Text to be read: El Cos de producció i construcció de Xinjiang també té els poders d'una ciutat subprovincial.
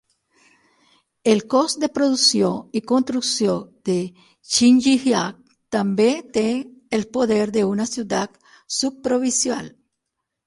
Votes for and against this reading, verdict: 3, 6, rejected